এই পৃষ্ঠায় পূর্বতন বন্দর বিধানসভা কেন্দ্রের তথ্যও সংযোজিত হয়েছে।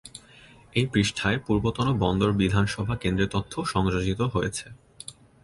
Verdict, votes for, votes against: rejected, 1, 2